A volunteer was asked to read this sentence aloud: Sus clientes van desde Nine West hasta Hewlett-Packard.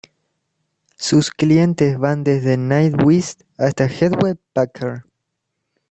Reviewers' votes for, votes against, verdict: 1, 2, rejected